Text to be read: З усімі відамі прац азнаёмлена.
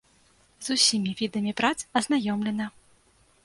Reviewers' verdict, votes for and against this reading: accepted, 3, 0